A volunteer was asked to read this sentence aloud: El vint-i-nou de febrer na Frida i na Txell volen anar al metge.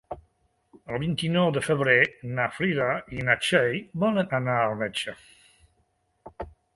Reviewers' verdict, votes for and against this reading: accepted, 2, 0